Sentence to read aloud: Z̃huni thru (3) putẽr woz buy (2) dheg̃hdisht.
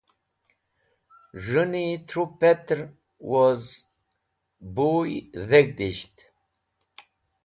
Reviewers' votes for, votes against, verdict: 0, 2, rejected